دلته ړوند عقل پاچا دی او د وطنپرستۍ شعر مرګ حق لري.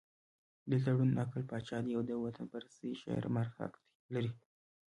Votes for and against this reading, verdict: 1, 2, rejected